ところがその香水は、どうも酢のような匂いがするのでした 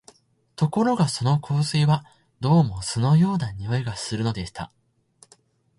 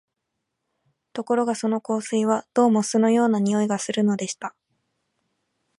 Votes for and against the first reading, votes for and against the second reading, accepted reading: 2, 2, 2, 0, second